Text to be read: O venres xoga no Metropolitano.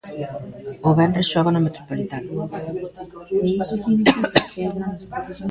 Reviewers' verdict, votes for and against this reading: rejected, 1, 3